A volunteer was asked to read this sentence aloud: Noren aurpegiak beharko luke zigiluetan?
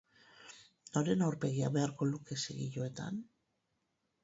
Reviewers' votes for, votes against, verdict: 0, 4, rejected